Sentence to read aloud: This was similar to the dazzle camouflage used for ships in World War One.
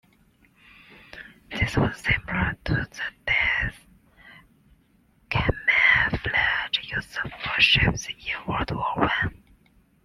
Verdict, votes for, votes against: rejected, 0, 2